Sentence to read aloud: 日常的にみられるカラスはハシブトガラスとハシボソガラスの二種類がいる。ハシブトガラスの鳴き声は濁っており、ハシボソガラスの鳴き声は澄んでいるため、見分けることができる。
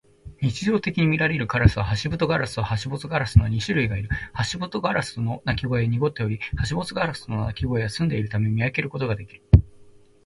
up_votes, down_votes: 0, 2